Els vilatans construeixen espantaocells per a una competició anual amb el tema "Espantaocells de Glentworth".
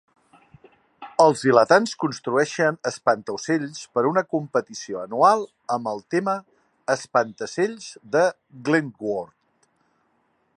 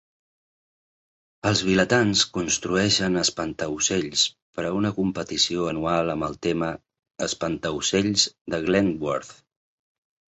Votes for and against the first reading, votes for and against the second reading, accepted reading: 0, 2, 2, 0, second